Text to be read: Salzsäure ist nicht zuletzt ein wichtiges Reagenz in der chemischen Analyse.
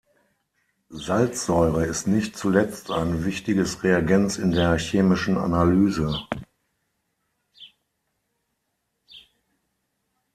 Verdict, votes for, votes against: accepted, 6, 0